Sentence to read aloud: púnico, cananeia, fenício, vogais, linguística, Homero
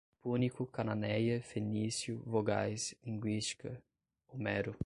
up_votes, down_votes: 5, 5